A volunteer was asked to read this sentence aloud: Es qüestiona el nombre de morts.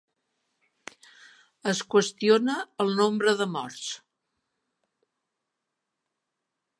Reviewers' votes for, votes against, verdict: 3, 0, accepted